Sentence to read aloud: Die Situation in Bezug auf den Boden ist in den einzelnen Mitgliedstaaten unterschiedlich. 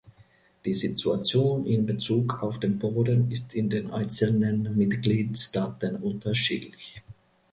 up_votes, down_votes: 0, 2